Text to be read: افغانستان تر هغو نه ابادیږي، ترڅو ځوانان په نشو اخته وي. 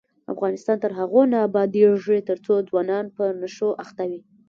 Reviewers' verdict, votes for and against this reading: rejected, 1, 2